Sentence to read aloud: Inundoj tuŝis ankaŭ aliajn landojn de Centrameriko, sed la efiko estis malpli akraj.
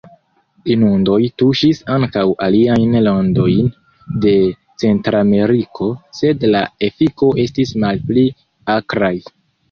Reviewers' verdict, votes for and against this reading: rejected, 1, 2